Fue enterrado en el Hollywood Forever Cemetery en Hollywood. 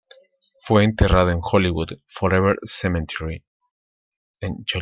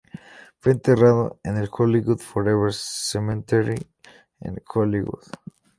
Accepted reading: second